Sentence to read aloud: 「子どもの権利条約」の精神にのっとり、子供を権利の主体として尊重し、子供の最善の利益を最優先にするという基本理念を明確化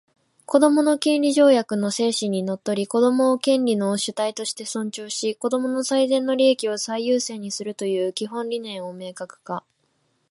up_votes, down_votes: 1, 2